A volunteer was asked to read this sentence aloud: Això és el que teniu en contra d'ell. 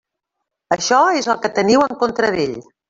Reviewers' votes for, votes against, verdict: 3, 0, accepted